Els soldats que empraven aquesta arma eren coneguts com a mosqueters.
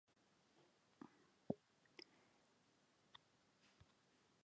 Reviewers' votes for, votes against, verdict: 1, 2, rejected